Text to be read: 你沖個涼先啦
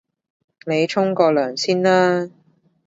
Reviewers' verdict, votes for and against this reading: accepted, 2, 0